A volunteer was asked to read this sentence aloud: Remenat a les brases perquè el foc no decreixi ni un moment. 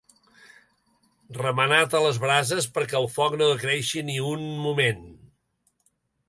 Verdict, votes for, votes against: accepted, 2, 0